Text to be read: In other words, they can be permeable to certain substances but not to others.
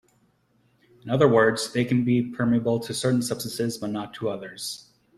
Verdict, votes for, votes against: accepted, 2, 0